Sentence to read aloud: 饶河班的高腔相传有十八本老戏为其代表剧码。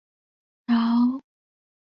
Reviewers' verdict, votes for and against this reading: rejected, 0, 2